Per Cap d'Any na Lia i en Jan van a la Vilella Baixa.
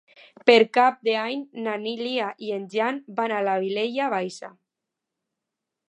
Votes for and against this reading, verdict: 0, 2, rejected